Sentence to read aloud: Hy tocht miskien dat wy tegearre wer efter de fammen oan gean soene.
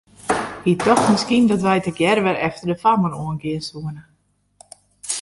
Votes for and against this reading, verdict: 1, 2, rejected